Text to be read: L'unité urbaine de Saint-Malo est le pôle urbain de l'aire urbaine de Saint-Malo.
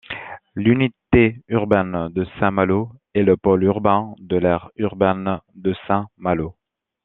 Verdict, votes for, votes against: rejected, 0, 2